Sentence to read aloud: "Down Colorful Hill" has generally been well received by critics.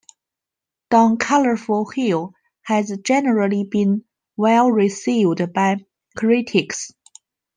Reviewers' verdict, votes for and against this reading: rejected, 1, 2